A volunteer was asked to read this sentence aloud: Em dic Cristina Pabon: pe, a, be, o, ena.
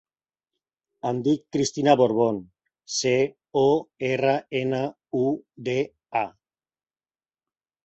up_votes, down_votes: 0, 2